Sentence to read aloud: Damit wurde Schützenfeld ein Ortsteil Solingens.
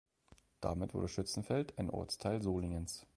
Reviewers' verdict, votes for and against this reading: accepted, 2, 0